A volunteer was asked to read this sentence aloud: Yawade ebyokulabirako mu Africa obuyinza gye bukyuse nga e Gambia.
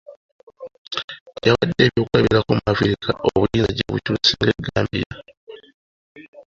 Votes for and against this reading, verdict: 2, 1, accepted